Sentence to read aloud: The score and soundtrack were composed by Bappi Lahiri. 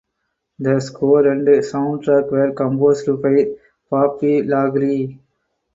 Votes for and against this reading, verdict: 0, 4, rejected